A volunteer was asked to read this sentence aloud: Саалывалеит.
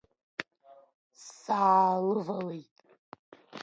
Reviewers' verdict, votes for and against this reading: accepted, 2, 1